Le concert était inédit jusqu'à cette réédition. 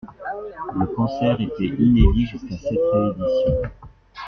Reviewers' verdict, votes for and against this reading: rejected, 0, 2